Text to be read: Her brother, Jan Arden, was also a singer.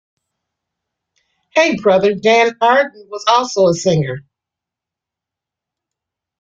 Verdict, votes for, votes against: rejected, 1, 2